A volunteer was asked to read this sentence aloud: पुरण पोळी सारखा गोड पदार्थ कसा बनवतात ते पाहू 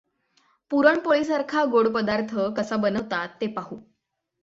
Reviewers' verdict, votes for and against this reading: accepted, 6, 0